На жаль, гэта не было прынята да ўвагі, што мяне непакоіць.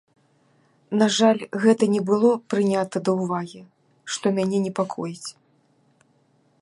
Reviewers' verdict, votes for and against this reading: accepted, 2, 0